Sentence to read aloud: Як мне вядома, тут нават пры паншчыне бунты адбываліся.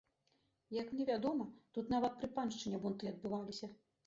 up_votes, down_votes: 1, 2